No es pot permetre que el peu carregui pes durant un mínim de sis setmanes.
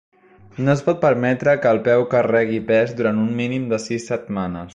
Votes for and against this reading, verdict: 3, 0, accepted